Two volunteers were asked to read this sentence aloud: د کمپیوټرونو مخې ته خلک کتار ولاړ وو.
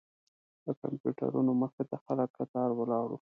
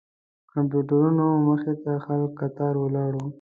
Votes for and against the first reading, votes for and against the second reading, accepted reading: 1, 2, 2, 0, second